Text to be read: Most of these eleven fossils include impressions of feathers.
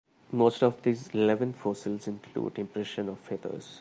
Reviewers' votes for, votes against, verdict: 1, 2, rejected